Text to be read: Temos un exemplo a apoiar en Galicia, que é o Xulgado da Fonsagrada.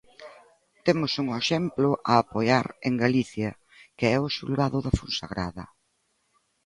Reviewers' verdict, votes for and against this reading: accepted, 2, 0